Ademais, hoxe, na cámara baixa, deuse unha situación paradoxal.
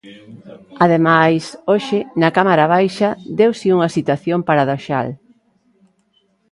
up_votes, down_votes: 1, 2